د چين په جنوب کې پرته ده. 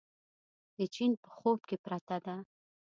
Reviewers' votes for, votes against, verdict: 1, 2, rejected